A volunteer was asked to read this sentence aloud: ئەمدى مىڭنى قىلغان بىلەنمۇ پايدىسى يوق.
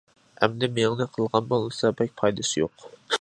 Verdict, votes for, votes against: rejected, 1, 2